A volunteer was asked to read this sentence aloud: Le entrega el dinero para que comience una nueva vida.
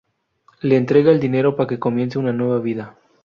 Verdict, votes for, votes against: rejected, 0, 2